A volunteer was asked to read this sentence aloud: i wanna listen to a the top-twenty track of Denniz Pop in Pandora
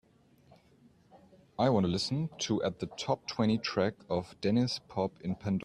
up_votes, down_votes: 0, 2